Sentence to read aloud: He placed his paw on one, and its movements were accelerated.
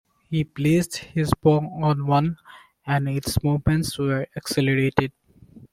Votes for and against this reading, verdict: 2, 1, accepted